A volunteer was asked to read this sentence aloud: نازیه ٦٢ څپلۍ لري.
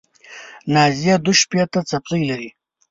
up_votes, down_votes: 0, 2